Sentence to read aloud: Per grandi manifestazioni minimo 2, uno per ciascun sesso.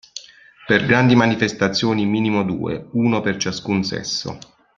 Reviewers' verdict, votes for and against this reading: rejected, 0, 2